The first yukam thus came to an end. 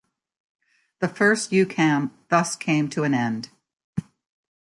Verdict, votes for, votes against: accepted, 2, 0